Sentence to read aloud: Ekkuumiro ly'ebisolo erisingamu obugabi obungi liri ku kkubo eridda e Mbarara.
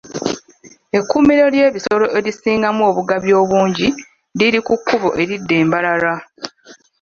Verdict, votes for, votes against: rejected, 1, 2